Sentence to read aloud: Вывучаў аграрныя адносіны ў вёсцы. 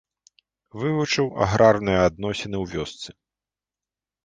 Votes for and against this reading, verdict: 0, 2, rejected